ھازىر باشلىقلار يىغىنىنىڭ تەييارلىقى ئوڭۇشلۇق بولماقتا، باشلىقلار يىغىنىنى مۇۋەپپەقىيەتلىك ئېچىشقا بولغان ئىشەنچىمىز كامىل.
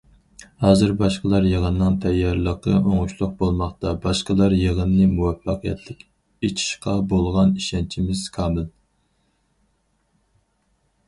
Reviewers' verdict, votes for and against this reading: rejected, 0, 4